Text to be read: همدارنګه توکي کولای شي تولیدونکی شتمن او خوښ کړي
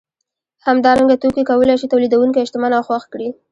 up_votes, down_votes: 2, 0